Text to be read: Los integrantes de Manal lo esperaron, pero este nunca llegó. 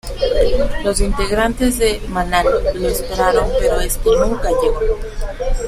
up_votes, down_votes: 0, 2